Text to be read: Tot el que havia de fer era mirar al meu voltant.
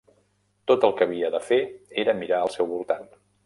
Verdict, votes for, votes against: rejected, 0, 2